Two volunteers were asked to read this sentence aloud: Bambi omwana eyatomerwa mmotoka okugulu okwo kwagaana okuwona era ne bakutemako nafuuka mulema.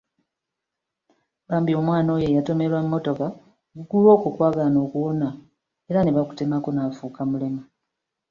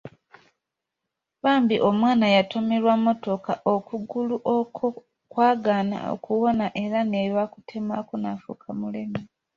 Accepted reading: second